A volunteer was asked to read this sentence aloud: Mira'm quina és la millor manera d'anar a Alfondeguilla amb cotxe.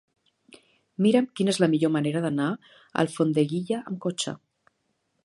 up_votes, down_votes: 2, 0